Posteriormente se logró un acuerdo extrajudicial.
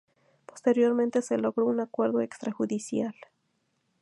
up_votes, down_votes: 2, 0